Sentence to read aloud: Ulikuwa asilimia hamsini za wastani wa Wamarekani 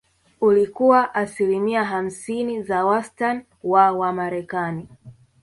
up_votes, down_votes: 1, 2